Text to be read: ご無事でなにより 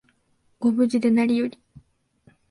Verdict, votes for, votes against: rejected, 0, 2